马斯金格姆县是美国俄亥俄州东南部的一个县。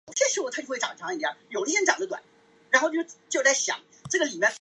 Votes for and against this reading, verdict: 0, 2, rejected